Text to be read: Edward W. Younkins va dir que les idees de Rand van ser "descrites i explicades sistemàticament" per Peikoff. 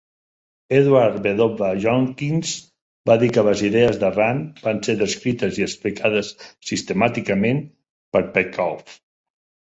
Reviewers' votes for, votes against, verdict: 2, 0, accepted